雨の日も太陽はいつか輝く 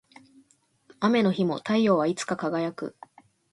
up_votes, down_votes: 2, 0